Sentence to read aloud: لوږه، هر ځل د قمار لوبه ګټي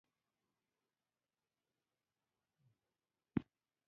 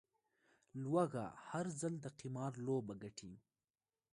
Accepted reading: second